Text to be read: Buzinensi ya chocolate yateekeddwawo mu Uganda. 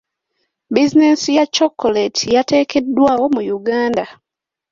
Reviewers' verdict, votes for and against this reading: accepted, 2, 0